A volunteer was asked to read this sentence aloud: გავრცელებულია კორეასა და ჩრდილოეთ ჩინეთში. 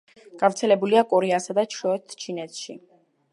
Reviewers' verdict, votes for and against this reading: accepted, 2, 0